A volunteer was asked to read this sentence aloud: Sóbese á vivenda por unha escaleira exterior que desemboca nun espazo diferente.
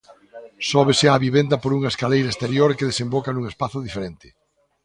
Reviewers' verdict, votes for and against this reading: accepted, 2, 0